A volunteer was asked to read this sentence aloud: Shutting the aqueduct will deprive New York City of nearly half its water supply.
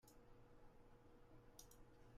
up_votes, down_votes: 0, 2